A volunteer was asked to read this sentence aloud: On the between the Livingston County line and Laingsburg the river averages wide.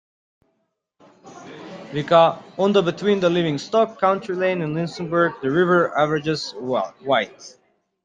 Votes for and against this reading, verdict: 0, 2, rejected